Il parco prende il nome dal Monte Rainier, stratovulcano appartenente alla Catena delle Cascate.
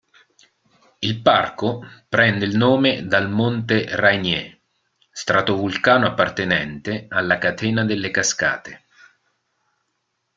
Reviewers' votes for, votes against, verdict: 2, 0, accepted